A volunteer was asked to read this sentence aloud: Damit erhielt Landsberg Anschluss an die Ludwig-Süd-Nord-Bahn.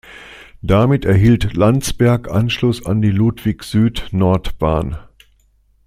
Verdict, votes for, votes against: accepted, 2, 0